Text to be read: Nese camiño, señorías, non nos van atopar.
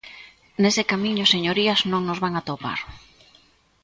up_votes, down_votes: 2, 0